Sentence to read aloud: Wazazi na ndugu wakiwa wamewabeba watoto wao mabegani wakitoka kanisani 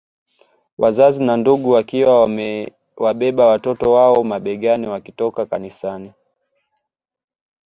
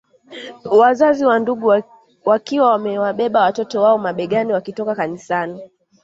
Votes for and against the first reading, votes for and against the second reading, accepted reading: 2, 0, 0, 2, first